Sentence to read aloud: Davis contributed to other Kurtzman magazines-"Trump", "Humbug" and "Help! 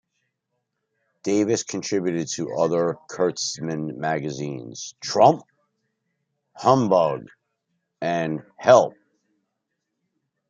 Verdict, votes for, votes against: accepted, 2, 0